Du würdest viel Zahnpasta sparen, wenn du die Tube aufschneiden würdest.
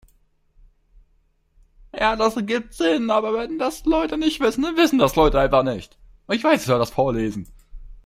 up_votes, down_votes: 0, 4